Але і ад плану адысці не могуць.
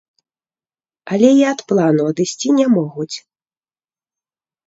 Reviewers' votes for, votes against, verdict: 2, 0, accepted